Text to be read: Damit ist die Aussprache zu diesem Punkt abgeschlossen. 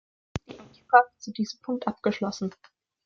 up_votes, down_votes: 0, 2